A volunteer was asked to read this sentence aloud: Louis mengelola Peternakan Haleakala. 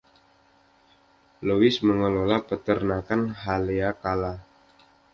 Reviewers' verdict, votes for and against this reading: accepted, 2, 0